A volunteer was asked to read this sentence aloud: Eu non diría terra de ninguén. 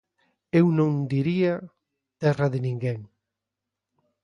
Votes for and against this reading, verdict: 2, 0, accepted